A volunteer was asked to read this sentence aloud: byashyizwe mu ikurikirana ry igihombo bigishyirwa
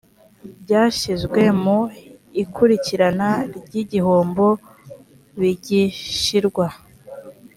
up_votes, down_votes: 3, 0